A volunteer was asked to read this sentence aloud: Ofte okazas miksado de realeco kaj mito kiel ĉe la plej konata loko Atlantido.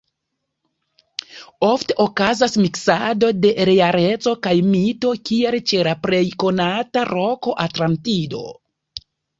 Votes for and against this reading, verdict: 1, 2, rejected